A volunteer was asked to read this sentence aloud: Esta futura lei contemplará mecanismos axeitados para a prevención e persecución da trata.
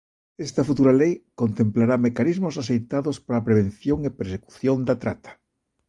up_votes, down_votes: 1, 2